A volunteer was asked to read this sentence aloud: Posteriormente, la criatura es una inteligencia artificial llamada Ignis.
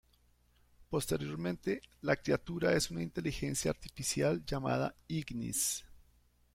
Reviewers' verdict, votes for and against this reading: accepted, 2, 0